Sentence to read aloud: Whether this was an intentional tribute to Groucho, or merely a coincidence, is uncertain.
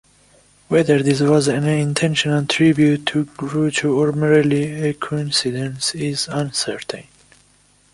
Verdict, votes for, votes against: accepted, 2, 0